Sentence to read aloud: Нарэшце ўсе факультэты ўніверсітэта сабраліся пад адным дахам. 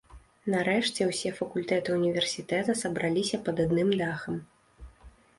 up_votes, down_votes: 2, 0